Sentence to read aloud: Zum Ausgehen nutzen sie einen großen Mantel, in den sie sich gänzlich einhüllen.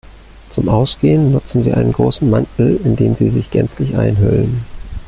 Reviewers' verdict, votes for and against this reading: accepted, 2, 1